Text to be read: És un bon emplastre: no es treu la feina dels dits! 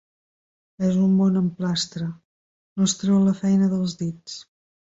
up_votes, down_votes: 1, 2